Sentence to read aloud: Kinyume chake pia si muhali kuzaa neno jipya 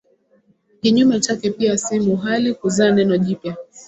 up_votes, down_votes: 7, 2